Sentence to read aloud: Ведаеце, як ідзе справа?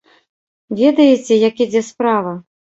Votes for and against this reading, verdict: 2, 0, accepted